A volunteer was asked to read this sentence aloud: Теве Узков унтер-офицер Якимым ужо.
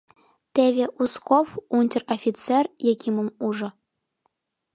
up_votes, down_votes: 2, 0